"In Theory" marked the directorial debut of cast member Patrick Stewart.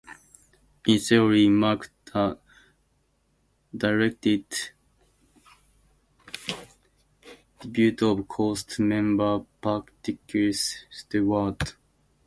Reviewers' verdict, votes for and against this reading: rejected, 0, 4